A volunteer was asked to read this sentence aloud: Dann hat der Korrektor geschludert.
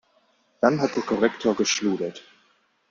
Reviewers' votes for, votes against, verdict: 2, 0, accepted